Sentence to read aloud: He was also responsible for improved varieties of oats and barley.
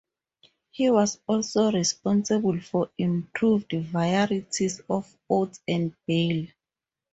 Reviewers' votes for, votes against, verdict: 0, 4, rejected